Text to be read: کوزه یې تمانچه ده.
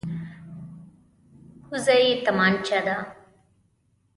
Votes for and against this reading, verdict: 2, 0, accepted